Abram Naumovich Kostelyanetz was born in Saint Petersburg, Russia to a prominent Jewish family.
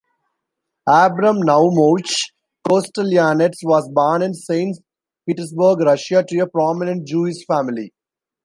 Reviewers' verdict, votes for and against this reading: rejected, 1, 2